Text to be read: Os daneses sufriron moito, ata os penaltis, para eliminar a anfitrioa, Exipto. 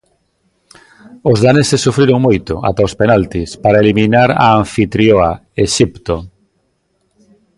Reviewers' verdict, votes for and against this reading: accepted, 4, 0